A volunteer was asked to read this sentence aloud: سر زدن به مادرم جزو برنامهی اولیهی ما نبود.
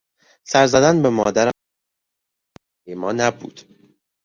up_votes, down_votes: 0, 2